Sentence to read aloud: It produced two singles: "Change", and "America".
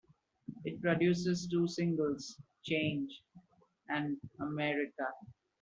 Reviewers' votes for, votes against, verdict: 0, 2, rejected